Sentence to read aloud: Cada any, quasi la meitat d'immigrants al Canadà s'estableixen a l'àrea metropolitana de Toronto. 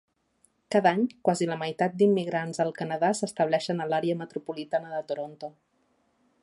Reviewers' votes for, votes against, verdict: 3, 0, accepted